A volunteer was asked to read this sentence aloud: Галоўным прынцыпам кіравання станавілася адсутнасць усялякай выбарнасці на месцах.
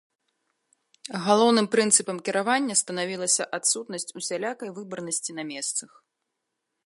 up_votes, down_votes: 2, 0